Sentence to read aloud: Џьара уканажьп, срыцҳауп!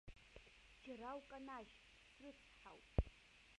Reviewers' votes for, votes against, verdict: 0, 2, rejected